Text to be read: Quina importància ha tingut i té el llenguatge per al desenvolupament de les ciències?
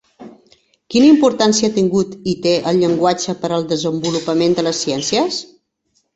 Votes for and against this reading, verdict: 3, 0, accepted